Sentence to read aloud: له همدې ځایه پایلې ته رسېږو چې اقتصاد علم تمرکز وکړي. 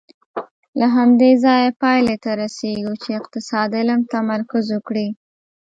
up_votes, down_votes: 2, 0